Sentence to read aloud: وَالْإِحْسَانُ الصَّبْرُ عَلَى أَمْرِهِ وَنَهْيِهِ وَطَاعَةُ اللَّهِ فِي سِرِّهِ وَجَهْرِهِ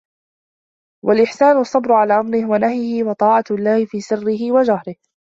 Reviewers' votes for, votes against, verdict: 2, 0, accepted